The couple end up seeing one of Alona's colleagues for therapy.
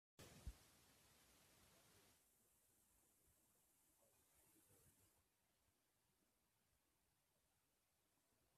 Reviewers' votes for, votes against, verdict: 0, 2, rejected